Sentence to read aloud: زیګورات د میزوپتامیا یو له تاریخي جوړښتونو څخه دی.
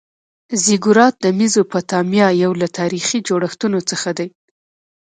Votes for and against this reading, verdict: 1, 2, rejected